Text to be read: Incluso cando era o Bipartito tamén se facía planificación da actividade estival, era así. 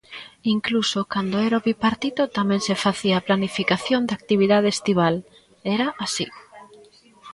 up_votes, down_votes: 1, 2